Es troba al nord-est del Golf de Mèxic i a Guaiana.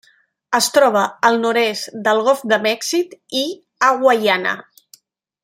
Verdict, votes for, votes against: accepted, 2, 0